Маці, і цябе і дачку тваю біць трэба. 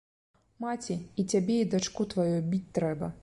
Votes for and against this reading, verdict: 2, 0, accepted